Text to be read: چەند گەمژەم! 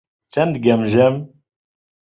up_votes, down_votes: 2, 0